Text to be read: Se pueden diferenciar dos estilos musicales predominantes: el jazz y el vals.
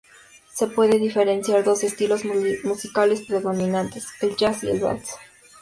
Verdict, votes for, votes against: rejected, 0, 2